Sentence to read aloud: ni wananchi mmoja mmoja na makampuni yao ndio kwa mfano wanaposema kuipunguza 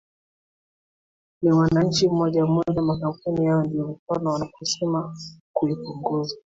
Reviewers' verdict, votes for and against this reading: accepted, 2, 1